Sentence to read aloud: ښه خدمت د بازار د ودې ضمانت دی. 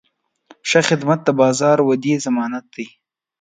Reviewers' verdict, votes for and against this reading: rejected, 1, 2